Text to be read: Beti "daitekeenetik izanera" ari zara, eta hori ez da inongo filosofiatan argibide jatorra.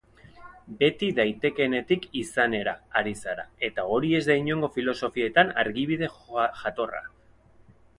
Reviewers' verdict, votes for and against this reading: rejected, 2, 4